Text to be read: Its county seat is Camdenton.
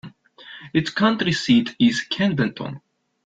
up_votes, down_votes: 0, 2